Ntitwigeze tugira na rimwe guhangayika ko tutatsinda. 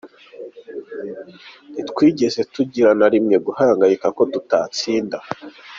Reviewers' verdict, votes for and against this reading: accepted, 2, 0